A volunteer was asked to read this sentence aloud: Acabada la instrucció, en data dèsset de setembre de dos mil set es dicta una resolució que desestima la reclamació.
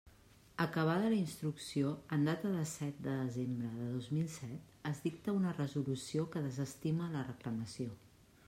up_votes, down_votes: 0, 2